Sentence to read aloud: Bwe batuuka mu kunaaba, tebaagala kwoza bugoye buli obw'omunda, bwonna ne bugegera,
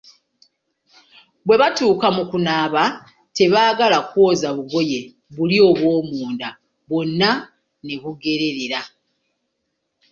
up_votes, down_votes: 1, 2